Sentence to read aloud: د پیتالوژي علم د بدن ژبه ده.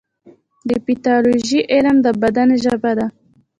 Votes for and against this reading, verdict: 1, 2, rejected